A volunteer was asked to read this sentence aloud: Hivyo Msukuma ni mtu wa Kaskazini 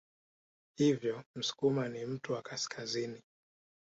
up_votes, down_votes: 1, 2